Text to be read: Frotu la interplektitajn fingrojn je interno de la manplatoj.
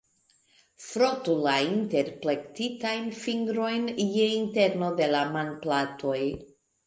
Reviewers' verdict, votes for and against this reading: accepted, 2, 0